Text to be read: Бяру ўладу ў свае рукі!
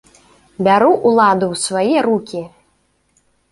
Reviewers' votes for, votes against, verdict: 2, 0, accepted